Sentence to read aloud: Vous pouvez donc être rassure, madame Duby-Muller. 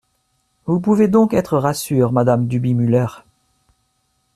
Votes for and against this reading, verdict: 2, 1, accepted